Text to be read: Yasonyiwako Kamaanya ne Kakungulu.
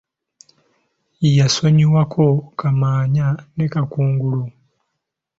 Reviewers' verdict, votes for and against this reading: accepted, 2, 0